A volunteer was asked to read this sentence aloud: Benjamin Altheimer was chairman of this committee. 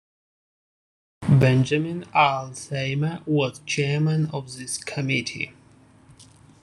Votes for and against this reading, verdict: 0, 2, rejected